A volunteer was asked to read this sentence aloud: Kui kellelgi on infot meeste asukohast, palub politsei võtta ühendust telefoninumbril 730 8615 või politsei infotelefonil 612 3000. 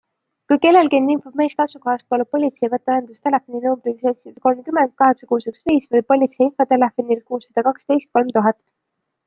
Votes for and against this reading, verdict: 0, 2, rejected